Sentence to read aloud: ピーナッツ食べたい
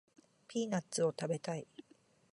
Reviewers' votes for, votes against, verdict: 1, 2, rejected